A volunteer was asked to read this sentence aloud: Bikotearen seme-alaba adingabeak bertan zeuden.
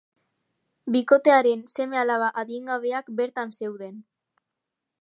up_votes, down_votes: 4, 1